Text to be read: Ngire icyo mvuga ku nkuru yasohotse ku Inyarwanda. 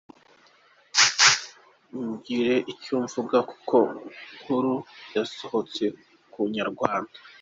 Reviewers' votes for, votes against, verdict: 1, 2, rejected